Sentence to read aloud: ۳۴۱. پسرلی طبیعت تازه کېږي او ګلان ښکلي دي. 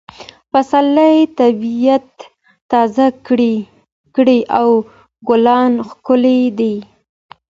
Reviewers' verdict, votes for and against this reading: rejected, 0, 2